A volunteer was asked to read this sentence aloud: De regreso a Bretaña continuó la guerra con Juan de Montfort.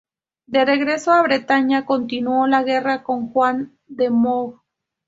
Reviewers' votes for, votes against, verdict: 0, 2, rejected